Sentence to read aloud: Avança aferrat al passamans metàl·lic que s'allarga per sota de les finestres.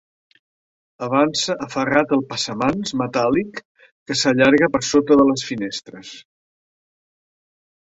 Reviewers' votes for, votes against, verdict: 2, 0, accepted